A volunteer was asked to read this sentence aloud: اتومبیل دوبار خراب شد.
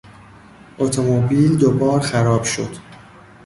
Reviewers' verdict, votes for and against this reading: rejected, 1, 2